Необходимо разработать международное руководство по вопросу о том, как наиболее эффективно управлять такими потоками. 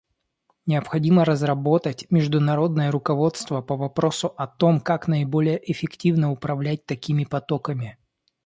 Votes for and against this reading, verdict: 2, 0, accepted